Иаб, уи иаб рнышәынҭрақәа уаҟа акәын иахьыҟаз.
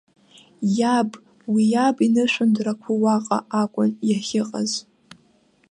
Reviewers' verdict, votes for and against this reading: rejected, 1, 2